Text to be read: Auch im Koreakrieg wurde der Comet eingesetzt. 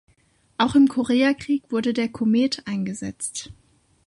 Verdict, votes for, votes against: accepted, 2, 0